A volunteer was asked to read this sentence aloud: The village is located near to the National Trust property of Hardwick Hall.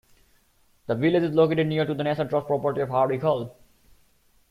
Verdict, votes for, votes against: accepted, 2, 1